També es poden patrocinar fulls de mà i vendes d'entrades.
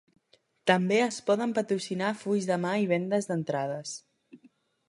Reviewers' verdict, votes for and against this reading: accepted, 3, 0